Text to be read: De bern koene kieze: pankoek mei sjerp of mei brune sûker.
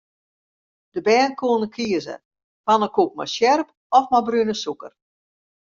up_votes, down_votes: 0, 2